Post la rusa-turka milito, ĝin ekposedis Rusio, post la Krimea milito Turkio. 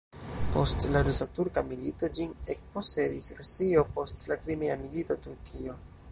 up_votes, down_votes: 2, 0